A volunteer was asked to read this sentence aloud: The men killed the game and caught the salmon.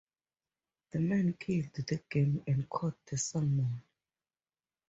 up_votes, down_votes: 4, 0